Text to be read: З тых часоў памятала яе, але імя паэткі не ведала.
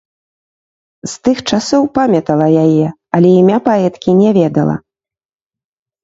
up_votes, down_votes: 1, 2